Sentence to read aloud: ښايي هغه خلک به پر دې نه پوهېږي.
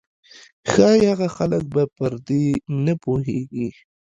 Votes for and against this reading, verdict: 2, 1, accepted